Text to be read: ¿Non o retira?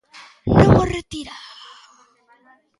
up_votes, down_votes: 1, 2